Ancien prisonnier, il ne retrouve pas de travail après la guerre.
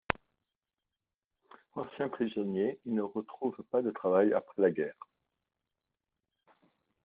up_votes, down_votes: 2, 1